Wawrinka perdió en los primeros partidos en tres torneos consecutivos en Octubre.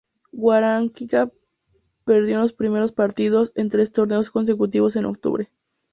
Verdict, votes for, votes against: accepted, 2, 0